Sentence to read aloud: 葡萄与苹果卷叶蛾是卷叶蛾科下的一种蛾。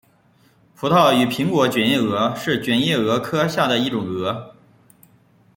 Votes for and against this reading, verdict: 2, 0, accepted